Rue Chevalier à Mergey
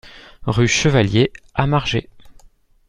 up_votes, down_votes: 0, 2